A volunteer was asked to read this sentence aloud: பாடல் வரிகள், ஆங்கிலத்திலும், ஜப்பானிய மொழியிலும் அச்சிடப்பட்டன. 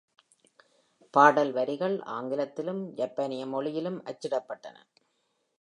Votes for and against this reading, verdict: 2, 0, accepted